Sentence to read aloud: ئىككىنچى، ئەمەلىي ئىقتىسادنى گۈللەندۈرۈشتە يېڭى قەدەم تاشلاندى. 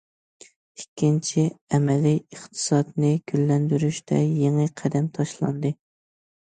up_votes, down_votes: 2, 0